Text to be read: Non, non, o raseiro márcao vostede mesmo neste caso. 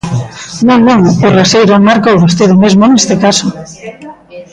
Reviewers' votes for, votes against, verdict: 1, 2, rejected